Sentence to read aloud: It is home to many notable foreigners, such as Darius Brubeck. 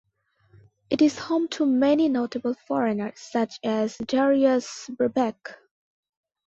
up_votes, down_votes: 2, 0